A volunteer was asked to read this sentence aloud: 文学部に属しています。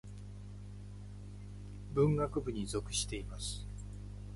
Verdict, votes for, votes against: rejected, 3, 3